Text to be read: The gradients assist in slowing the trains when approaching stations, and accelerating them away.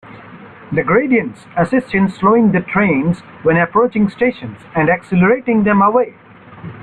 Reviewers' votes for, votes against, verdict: 2, 0, accepted